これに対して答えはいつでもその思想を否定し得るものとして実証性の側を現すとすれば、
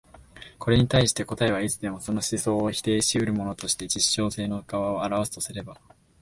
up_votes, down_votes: 0, 2